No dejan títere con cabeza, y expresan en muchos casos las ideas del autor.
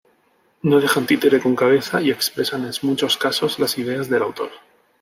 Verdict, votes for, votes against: rejected, 0, 2